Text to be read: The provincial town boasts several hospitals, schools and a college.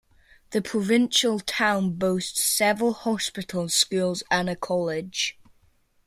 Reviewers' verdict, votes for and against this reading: accepted, 2, 0